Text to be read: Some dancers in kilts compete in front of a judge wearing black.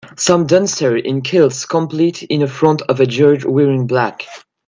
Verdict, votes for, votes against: rejected, 0, 2